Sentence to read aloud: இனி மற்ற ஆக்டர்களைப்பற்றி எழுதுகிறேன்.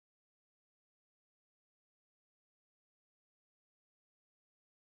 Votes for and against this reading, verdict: 0, 2, rejected